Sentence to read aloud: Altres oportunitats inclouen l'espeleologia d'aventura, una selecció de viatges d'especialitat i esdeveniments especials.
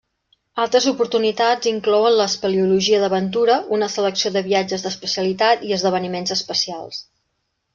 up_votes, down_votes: 2, 0